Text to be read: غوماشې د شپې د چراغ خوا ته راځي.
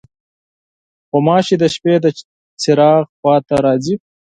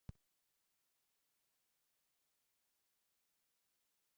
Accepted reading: first